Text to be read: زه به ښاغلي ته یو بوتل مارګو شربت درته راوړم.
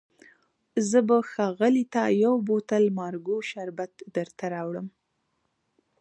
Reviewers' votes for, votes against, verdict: 2, 0, accepted